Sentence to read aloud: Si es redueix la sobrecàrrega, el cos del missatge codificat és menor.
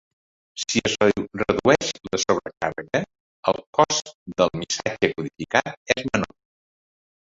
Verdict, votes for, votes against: rejected, 0, 2